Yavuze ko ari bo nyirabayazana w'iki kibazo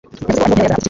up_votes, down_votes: 1, 2